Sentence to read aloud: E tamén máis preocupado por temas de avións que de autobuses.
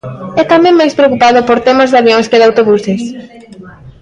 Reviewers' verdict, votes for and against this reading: rejected, 1, 2